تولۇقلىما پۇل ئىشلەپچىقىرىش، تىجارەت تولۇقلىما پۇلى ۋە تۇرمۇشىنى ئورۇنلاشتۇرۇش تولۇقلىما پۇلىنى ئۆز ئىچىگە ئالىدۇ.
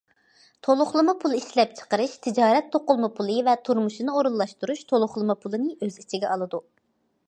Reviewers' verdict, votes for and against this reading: rejected, 0, 2